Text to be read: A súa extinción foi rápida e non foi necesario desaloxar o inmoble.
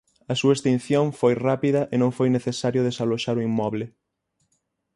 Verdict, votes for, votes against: accepted, 6, 0